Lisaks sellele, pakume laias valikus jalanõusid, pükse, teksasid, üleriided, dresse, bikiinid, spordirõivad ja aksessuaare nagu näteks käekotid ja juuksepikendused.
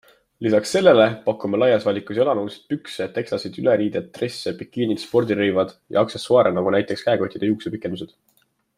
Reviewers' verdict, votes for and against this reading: accepted, 2, 0